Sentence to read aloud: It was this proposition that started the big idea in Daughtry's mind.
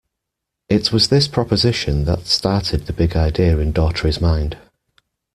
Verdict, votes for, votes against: accepted, 2, 0